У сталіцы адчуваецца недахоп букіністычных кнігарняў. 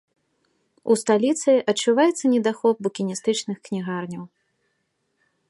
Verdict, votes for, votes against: accepted, 2, 0